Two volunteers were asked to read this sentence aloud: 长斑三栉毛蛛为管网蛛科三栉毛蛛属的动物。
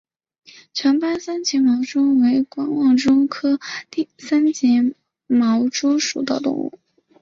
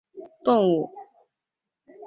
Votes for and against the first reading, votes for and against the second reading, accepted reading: 2, 1, 0, 2, first